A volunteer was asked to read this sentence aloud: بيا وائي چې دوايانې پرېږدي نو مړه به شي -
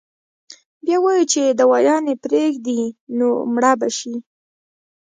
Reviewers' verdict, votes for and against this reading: rejected, 0, 2